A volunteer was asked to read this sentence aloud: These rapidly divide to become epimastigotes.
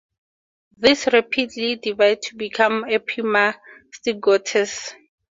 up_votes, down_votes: 4, 0